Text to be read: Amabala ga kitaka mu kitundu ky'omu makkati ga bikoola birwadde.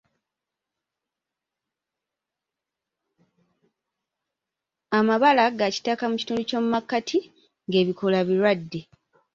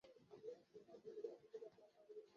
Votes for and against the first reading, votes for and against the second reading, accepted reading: 2, 0, 0, 2, first